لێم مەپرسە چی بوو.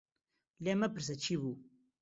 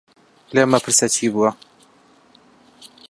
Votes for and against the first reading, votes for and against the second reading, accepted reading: 2, 0, 0, 2, first